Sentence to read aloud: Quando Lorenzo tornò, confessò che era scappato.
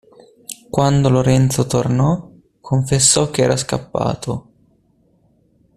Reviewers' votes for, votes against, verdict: 2, 0, accepted